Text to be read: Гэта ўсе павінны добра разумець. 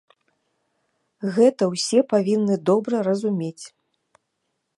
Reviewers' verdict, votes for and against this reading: accepted, 2, 0